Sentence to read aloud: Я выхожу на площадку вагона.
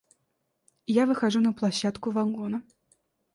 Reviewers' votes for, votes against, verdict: 2, 0, accepted